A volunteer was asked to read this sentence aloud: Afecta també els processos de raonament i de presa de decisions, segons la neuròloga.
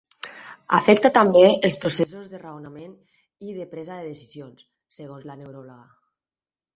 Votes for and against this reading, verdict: 4, 0, accepted